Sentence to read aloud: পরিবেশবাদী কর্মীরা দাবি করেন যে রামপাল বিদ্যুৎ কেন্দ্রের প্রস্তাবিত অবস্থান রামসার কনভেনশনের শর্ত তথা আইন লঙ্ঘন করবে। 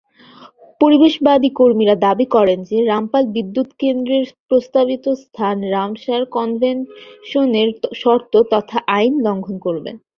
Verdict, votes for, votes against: rejected, 0, 2